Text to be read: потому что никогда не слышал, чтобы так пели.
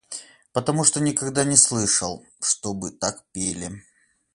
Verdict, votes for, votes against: accepted, 8, 0